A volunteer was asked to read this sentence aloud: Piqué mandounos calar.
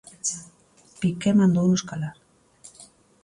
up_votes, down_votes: 2, 0